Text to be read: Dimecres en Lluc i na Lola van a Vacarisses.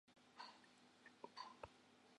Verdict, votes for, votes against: rejected, 0, 4